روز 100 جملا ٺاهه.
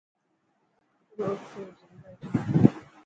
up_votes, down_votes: 0, 2